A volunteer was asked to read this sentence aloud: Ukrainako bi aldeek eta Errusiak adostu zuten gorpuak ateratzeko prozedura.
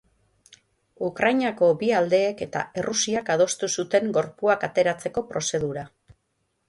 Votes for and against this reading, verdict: 6, 0, accepted